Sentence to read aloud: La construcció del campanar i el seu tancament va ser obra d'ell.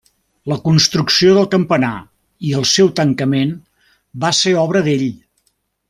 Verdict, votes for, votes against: accepted, 3, 0